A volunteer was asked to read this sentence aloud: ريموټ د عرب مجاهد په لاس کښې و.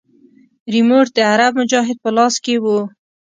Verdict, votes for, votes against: accepted, 2, 0